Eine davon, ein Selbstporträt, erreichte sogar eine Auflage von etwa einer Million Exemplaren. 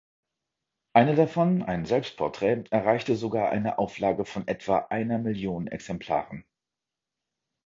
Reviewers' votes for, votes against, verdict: 2, 0, accepted